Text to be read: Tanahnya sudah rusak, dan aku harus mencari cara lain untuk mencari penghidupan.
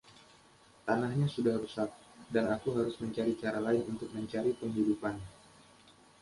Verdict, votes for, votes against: accepted, 2, 0